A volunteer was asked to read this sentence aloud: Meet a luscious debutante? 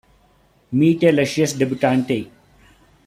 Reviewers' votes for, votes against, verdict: 0, 2, rejected